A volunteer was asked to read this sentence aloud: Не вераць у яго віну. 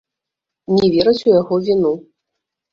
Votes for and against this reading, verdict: 1, 2, rejected